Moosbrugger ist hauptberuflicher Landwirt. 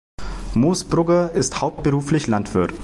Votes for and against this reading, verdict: 0, 2, rejected